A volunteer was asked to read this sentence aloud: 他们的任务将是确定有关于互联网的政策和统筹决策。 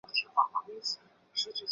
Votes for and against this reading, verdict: 0, 3, rejected